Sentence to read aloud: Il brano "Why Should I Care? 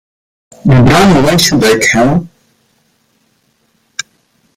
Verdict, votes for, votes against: rejected, 1, 2